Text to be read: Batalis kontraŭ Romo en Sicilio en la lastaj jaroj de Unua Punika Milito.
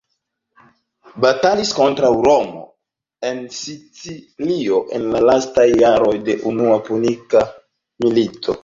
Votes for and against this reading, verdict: 2, 0, accepted